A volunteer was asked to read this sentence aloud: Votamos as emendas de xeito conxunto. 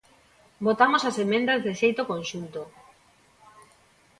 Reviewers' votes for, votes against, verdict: 0, 2, rejected